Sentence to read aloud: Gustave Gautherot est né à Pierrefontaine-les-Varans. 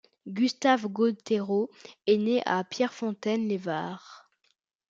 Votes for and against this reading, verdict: 0, 2, rejected